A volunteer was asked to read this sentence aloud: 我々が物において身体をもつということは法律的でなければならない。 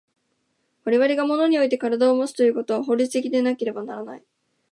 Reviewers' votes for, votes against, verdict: 14, 2, accepted